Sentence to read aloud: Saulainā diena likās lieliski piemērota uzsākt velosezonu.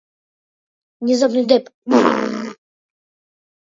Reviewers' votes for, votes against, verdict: 0, 2, rejected